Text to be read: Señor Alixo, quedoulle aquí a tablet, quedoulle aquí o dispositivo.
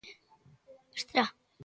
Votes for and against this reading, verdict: 0, 2, rejected